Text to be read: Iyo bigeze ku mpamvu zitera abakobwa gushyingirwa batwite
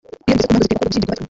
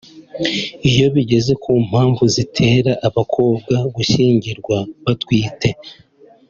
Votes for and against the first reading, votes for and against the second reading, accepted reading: 0, 2, 2, 0, second